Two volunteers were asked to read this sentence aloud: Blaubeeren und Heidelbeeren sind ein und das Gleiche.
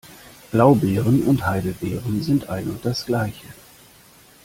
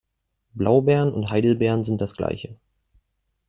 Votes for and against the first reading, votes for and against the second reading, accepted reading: 2, 0, 1, 2, first